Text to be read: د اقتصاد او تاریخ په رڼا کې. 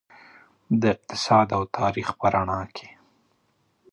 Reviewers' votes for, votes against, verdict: 1, 2, rejected